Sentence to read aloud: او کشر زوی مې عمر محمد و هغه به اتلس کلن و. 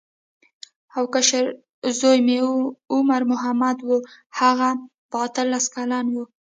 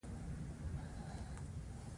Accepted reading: second